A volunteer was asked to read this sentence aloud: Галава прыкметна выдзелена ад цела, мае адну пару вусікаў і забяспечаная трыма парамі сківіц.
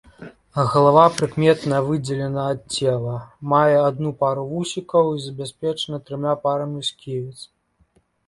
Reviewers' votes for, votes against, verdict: 2, 0, accepted